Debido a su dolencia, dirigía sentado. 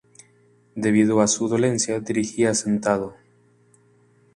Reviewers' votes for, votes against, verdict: 2, 0, accepted